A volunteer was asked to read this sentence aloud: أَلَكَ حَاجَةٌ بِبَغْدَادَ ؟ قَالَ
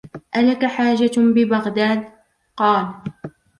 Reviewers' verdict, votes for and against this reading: accepted, 2, 0